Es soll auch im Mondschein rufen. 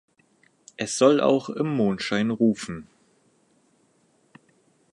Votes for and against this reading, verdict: 4, 0, accepted